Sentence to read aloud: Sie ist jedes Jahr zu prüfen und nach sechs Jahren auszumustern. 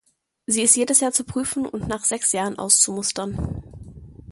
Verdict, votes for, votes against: accepted, 2, 0